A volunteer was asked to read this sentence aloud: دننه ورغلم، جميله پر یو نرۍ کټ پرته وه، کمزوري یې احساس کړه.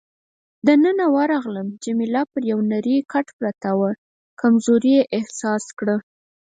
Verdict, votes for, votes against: accepted, 4, 0